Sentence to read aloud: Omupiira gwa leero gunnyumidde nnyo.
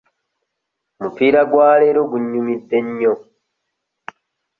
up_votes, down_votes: 1, 2